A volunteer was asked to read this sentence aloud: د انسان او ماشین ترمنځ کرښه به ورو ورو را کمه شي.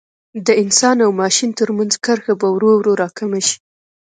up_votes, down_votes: 2, 0